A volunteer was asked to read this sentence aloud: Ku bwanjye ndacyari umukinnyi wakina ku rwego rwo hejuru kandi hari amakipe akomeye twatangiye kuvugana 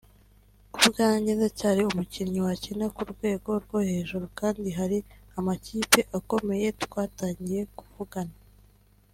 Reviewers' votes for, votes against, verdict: 3, 0, accepted